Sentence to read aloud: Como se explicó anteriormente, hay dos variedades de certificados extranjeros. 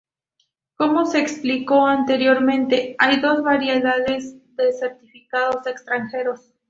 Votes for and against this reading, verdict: 0, 2, rejected